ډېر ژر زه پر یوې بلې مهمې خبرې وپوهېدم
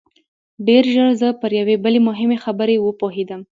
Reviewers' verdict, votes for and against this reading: accepted, 2, 0